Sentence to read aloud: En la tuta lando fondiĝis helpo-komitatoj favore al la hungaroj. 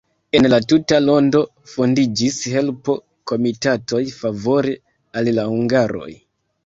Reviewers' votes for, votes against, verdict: 1, 2, rejected